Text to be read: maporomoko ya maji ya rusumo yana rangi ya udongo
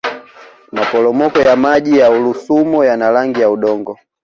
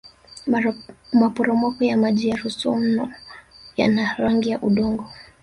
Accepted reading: first